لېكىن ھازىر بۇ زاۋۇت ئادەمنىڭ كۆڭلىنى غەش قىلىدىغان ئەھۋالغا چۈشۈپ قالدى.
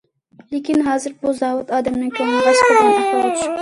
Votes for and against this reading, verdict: 0, 2, rejected